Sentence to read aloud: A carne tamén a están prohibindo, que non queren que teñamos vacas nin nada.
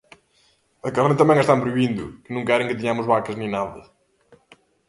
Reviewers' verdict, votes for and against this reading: rejected, 1, 2